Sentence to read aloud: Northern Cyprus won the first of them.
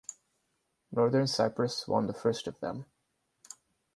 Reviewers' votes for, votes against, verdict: 4, 0, accepted